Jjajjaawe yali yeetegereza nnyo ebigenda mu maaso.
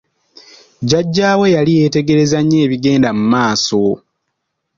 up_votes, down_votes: 2, 0